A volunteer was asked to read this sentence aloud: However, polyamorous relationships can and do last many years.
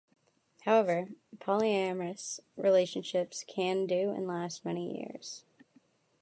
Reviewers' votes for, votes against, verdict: 1, 2, rejected